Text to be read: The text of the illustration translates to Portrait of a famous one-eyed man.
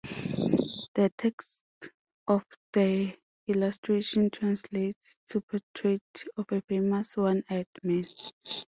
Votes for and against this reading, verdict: 2, 0, accepted